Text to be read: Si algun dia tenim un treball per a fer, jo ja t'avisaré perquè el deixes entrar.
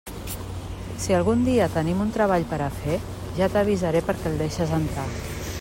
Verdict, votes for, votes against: rejected, 0, 2